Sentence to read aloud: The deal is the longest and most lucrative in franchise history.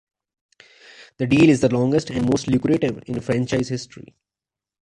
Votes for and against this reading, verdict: 2, 0, accepted